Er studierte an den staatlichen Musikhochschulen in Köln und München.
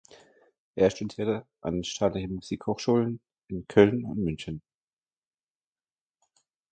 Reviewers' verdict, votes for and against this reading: accepted, 2, 1